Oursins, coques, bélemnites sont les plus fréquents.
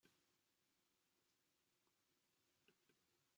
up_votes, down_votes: 0, 2